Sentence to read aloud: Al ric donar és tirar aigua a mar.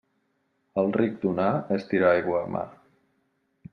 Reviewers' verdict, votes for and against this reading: accepted, 2, 0